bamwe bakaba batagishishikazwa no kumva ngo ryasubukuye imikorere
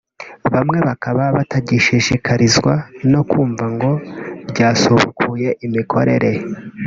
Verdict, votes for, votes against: rejected, 1, 2